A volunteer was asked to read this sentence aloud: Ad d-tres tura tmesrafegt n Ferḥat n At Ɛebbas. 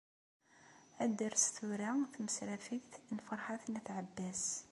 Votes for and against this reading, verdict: 2, 0, accepted